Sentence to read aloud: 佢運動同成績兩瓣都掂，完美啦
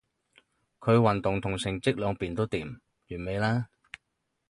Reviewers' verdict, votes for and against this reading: rejected, 0, 4